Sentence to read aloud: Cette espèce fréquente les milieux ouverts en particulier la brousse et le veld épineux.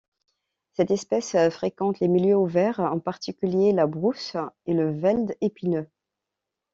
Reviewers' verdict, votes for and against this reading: accepted, 2, 0